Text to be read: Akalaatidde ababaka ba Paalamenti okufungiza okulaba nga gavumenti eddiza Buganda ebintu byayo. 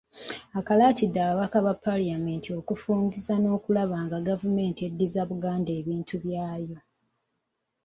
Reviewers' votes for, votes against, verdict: 1, 2, rejected